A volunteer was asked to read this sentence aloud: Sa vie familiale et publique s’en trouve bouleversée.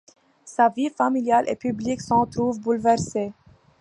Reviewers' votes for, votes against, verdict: 2, 0, accepted